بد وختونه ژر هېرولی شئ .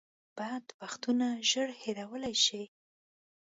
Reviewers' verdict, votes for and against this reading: accepted, 2, 0